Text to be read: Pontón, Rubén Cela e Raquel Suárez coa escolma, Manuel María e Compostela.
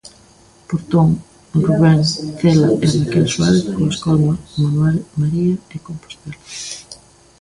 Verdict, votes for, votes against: rejected, 1, 2